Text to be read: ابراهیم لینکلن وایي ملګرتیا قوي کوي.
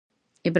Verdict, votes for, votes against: rejected, 0, 2